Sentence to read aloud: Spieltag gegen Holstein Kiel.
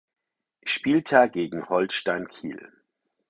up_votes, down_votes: 4, 0